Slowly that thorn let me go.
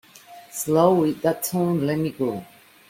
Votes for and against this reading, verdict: 0, 2, rejected